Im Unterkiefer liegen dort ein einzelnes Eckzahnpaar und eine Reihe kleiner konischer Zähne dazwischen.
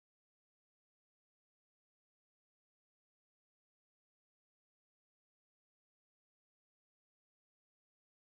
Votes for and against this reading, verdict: 0, 2, rejected